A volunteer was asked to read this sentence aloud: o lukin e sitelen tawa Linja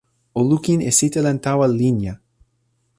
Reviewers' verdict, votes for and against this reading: accepted, 2, 0